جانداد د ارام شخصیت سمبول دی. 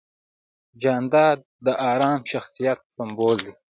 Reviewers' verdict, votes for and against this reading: accepted, 2, 0